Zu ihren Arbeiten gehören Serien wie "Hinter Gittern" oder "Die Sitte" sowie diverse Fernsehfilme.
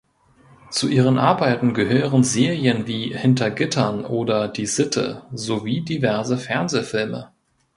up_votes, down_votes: 2, 0